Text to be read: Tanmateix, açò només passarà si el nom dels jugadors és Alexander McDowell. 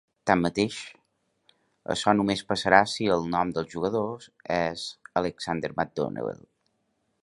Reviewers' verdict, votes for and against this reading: rejected, 1, 2